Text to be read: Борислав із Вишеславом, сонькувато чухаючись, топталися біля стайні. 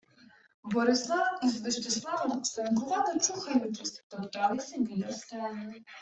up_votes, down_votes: 1, 2